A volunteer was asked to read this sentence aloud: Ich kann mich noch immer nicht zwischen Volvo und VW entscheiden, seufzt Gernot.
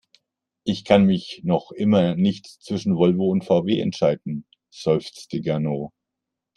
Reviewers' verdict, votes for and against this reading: rejected, 1, 2